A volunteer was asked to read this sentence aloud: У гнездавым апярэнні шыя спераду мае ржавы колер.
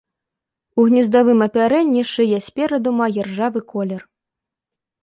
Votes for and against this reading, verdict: 2, 0, accepted